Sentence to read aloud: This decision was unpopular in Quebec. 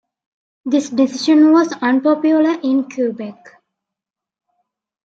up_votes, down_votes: 2, 0